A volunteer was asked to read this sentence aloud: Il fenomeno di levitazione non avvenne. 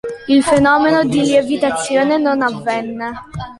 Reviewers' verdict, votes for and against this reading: rejected, 0, 2